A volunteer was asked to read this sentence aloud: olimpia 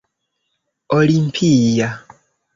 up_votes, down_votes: 0, 2